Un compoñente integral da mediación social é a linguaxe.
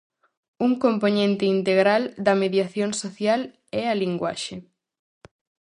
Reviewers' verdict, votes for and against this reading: accepted, 4, 0